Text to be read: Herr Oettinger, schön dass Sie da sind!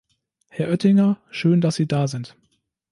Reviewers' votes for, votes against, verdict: 3, 0, accepted